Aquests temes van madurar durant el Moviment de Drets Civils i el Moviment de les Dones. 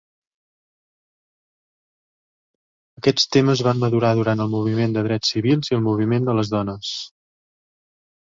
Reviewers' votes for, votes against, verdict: 1, 2, rejected